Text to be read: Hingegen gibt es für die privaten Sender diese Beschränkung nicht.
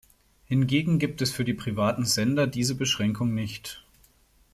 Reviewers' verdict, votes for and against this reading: accepted, 2, 0